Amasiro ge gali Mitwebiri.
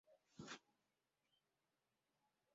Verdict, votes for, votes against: rejected, 0, 2